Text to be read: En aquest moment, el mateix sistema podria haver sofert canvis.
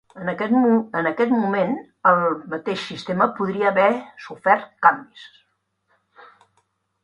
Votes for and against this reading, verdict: 1, 2, rejected